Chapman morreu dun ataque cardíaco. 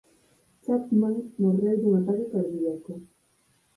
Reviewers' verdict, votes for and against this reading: accepted, 4, 2